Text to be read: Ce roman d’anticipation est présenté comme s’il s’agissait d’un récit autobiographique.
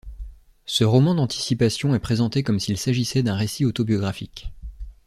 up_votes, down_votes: 2, 0